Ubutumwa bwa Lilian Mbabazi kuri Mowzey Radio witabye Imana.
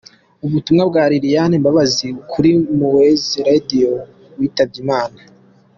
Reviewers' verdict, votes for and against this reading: accepted, 2, 0